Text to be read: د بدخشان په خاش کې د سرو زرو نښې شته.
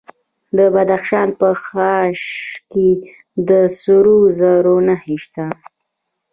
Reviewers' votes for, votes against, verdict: 2, 0, accepted